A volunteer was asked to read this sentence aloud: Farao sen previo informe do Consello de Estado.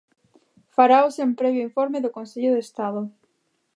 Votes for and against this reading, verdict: 4, 0, accepted